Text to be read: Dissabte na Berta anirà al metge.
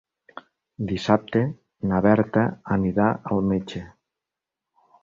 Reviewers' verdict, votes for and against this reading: accepted, 4, 0